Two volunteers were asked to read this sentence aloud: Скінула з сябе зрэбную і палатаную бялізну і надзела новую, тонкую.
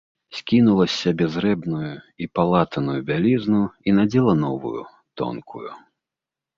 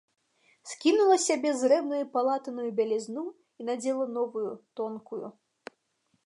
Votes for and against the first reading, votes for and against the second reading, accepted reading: 2, 0, 1, 2, first